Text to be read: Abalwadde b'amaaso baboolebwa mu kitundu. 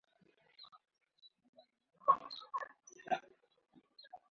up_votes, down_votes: 0, 2